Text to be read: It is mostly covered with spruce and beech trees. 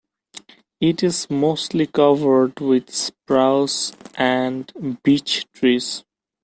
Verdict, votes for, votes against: rejected, 0, 2